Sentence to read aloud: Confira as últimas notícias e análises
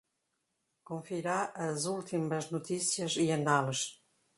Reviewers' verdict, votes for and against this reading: rejected, 0, 2